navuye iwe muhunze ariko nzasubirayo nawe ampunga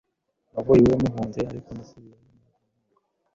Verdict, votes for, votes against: rejected, 0, 2